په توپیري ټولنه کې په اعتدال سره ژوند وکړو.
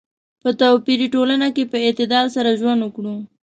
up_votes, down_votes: 2, 0